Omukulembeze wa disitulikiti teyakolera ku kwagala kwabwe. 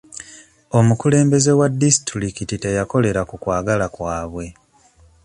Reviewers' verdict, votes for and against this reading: accepted, 2, 1